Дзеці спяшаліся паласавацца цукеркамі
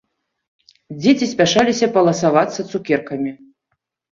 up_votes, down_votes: 2, 1